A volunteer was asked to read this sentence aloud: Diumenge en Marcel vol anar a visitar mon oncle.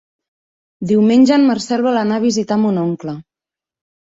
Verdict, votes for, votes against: accepted, 4, 0